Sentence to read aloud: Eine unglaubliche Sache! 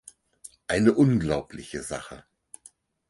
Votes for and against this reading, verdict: 4, 0, accepted